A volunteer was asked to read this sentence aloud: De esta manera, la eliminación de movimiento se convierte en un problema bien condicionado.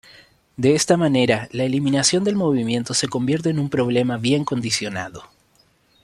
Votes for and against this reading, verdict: 1, 2, rejected